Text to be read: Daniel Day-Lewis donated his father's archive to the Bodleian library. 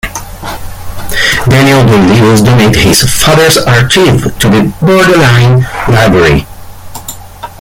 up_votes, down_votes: 1, 2